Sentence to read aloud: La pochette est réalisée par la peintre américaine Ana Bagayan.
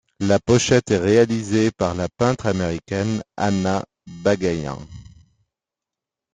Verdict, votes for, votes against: rejected, 1, 2